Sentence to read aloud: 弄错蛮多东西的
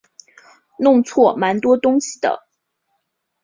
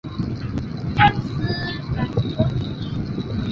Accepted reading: first